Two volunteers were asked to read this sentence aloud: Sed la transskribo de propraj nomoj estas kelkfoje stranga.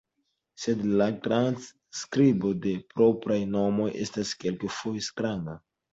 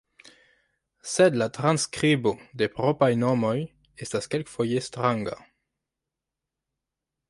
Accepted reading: first